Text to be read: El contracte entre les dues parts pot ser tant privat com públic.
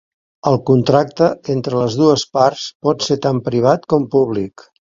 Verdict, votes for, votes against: accepted, 2, 0